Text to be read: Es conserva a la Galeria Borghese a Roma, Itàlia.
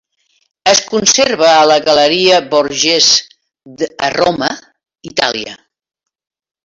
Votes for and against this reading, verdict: 0, 2, rejected